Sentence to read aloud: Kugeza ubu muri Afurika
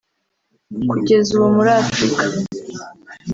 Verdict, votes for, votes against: accepted, 2, 0